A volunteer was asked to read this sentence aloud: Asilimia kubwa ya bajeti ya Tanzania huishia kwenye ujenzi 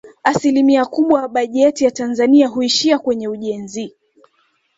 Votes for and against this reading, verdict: 2, 0, accepted